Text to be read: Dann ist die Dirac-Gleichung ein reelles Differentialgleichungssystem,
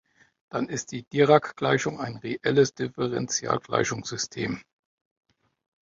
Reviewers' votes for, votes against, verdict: 2, 0, accepted